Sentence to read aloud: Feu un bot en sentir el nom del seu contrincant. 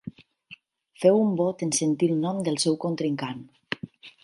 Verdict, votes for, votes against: accepted, 10, 0